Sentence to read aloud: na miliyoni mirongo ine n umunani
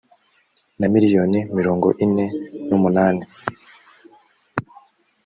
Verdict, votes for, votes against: accepted, 2, 0